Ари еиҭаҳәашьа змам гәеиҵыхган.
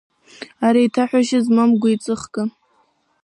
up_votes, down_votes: 2, 1